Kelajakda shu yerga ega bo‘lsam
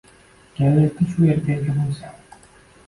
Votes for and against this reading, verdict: 2, 1, accepted